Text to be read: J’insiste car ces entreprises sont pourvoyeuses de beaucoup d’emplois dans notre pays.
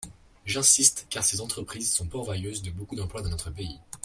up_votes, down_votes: 2, 0